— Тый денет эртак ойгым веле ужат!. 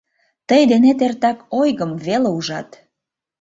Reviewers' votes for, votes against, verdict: 2, 0, accepted